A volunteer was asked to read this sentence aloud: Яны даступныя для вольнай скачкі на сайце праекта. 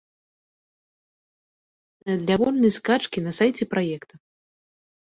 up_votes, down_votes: 0, 2